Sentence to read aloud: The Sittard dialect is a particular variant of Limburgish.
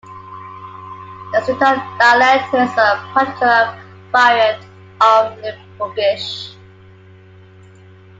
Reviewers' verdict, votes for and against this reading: accepted, 2, 0